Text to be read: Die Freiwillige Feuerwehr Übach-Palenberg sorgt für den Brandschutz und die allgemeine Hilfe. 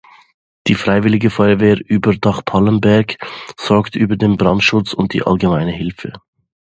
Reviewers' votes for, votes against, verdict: 0, 2, rejected